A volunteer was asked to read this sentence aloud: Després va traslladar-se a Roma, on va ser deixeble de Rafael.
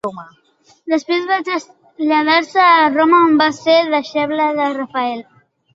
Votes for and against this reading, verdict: 1, 2, rejected